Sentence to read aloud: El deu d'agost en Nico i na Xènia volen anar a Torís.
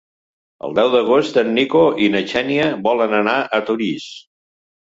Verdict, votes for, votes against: accepted, 2, 0